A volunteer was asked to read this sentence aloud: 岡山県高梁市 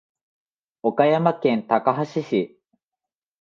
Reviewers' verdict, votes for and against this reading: accepted, 2, 0